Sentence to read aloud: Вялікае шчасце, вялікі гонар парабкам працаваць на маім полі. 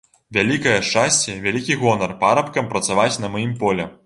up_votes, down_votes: 3, 0